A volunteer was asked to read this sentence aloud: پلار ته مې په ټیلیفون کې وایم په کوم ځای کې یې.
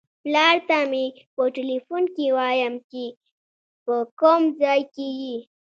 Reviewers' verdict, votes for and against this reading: accepted, 2, 1